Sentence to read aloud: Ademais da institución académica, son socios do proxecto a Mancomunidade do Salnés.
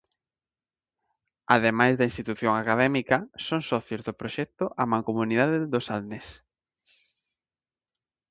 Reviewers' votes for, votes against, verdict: 2, 0, accepted